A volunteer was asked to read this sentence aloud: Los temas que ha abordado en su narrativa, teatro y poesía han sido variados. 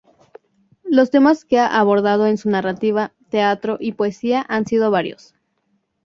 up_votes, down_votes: 0, 2